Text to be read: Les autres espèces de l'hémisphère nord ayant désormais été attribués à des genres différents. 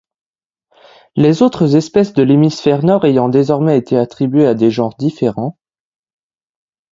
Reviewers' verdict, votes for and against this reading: accepted, 2, 0